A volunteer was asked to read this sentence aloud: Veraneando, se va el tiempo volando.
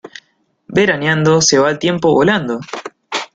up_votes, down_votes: 2, 0